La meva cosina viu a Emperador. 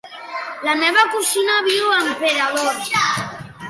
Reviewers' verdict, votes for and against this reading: accepted, 2, 0